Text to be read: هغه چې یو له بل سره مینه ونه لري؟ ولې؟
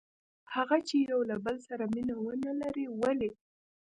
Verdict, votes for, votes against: accepted, 2, 0